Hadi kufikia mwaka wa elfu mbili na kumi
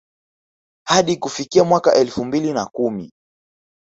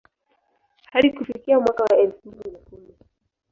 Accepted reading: first